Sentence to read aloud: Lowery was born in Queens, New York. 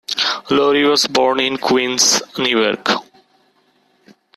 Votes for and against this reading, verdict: 1, 2, rejected